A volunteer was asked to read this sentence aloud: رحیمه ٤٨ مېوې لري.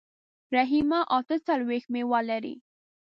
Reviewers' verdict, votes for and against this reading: rejected, 0, 2